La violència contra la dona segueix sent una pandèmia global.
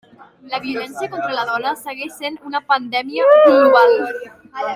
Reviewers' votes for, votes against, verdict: 0, 2, rejected